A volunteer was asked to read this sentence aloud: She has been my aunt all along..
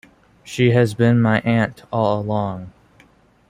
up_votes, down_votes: 1, 2